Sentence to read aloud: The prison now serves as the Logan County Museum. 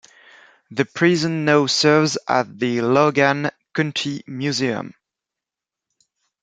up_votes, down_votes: 0, 2